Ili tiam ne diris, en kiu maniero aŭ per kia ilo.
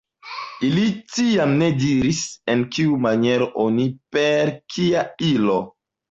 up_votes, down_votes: 1, 2